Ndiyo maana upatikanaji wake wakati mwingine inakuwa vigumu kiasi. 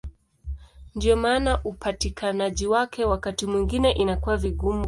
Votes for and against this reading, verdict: 1, 2, rejected